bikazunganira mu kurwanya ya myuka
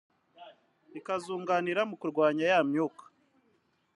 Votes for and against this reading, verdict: 2, 0, accepted